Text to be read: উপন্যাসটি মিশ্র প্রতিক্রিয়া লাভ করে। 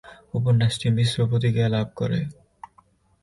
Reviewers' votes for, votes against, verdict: 14, 7, accepted